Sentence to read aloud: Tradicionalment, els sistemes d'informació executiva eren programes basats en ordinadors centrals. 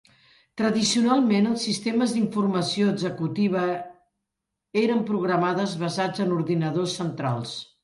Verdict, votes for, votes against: rejected, 0, 2